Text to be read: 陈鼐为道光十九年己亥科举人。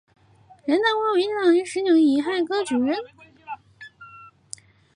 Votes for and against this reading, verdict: 1, 2, rejected